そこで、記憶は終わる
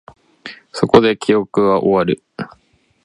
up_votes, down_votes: 2, 0